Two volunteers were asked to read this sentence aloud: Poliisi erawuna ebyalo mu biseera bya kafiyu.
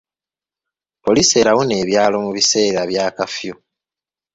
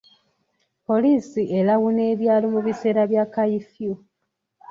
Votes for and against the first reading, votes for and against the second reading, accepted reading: 2, 0, 0, 2, first